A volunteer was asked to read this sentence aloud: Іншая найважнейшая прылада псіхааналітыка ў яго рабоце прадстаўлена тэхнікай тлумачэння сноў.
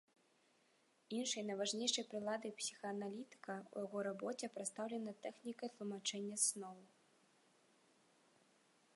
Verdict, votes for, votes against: rejected, 1, 2